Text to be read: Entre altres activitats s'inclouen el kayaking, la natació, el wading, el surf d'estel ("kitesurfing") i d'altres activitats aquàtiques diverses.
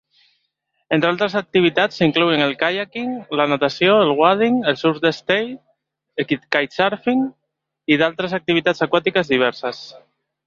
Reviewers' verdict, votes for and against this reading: rejected, 1, 3